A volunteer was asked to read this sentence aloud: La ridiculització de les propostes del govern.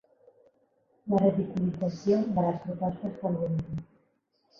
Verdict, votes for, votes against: accepted, 3, 2